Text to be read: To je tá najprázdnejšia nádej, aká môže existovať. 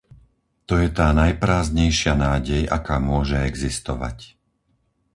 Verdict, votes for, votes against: accepted, 4, 0